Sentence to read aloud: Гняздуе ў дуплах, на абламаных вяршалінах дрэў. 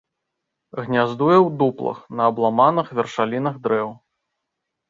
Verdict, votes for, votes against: accepted, 2, 0